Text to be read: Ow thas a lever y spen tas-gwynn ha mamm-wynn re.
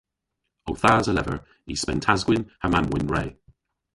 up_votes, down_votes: 1, 2